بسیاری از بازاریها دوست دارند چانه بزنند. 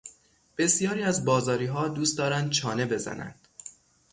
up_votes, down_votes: 3, 0